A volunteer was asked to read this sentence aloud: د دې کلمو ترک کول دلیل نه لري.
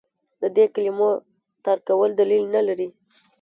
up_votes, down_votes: 1, 2